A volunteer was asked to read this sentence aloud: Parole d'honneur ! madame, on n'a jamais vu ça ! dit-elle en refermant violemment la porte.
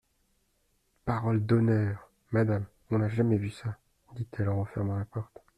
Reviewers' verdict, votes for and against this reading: rejected, 0, 2